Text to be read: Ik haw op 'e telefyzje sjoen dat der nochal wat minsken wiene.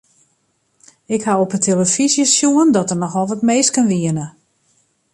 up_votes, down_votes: 1, 2